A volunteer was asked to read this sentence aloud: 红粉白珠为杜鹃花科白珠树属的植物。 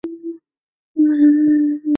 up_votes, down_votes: 0, 2